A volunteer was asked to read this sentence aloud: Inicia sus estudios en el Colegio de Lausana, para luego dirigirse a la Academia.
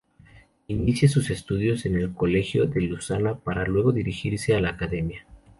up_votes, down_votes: 2, 0